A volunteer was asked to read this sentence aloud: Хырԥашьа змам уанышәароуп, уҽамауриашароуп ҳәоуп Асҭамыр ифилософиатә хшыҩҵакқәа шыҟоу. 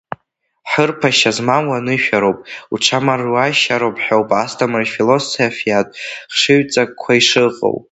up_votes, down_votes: 0, 2